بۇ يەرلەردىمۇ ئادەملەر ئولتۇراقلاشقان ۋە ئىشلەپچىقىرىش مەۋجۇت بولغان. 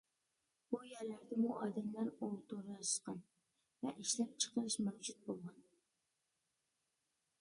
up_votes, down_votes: 0, 2